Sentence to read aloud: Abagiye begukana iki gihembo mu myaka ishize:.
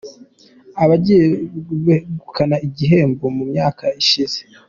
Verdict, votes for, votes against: accepted, 2, 1